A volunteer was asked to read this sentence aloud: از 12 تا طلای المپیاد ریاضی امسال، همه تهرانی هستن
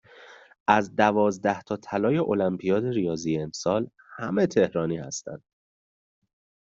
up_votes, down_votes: 0, 2